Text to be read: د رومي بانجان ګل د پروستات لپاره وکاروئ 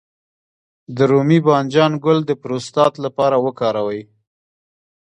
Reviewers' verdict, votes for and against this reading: rejected, 0, 2